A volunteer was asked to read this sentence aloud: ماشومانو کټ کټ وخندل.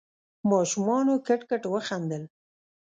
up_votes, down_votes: 0, 2